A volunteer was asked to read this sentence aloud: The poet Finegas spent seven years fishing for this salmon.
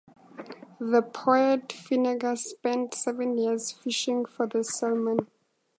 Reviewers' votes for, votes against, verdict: 4, 0, accepted